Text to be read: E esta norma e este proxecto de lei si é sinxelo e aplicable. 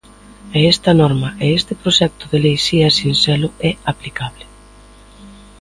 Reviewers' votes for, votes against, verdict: 2, 0, accepted